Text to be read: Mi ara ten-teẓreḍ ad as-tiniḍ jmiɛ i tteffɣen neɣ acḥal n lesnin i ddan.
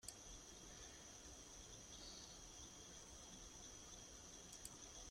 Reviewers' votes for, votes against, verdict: 0, 2, rejected